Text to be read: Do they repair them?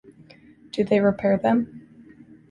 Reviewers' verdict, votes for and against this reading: accepted, 2, 0